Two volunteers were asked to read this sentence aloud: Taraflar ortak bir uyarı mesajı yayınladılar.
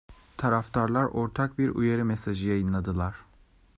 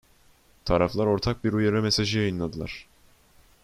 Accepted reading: second